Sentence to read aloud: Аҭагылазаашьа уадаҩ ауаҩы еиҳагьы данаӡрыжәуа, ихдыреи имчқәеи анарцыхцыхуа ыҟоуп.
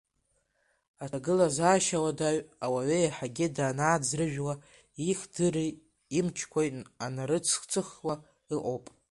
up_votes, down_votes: 2, 1